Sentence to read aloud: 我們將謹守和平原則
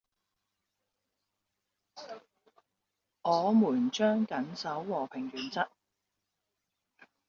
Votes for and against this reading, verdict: 0, 2, rejected